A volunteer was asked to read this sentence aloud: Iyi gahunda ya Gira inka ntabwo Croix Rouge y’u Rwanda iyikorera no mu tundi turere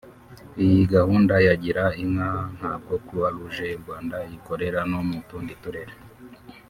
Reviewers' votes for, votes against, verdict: 4, 0, accepted